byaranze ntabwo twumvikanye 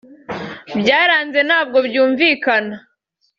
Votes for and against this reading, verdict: 1, 2, rejected